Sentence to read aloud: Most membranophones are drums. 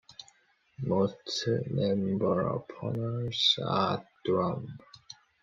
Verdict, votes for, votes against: rejected, 0, 2